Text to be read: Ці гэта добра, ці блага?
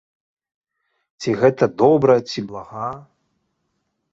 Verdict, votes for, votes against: accepted, 2, 0